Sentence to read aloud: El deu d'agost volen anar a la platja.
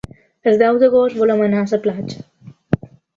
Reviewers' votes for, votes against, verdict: 1, 2, rejected